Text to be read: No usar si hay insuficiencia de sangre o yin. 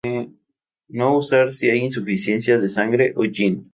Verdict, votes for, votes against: rejected, 0, 2